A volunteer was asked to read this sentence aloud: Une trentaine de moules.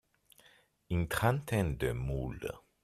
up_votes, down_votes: 2, 0